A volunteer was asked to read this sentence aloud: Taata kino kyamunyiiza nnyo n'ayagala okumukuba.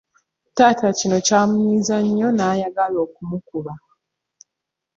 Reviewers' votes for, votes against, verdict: 1, 2, rejected